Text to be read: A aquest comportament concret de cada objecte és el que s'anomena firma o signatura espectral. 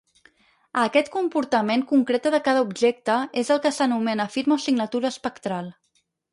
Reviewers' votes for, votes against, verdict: 2, 4, rejected